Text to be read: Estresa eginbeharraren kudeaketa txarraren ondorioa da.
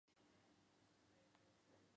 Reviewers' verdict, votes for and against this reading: rejected, 0, 3